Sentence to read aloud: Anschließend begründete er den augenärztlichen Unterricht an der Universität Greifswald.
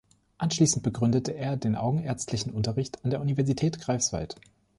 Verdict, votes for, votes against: accepted, 2, 0